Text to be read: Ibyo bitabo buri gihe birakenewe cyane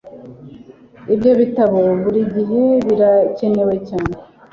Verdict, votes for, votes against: accepted, 2, 1